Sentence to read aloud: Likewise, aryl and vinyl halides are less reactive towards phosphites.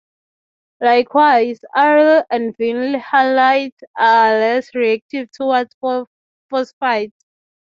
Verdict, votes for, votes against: rejected, 0, 3